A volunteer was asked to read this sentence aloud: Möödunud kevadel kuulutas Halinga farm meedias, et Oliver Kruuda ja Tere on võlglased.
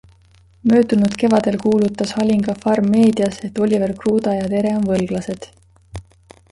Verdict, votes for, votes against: accepted, 2, 1